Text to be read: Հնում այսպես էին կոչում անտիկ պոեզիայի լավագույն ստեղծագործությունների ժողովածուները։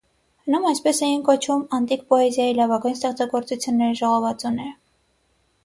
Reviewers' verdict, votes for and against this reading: accepted, 6, 0